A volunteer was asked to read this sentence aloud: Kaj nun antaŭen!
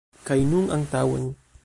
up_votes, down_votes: 1, 2